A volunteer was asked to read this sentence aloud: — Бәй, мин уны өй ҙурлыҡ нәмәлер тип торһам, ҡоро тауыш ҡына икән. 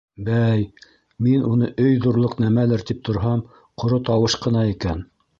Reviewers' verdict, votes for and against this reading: accepted, 3, 0